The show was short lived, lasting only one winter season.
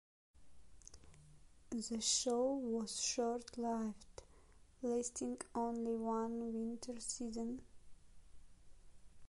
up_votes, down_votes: 1, 2